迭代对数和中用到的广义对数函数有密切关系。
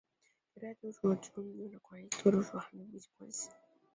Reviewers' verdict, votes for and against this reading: rejected, 0, 3